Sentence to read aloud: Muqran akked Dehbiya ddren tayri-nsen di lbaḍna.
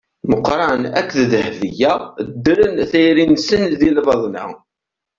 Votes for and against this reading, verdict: 2, 0, accepted